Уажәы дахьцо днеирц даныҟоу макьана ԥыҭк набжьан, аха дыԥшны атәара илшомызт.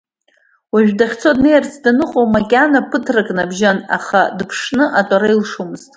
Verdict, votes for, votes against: accepted, 2, 0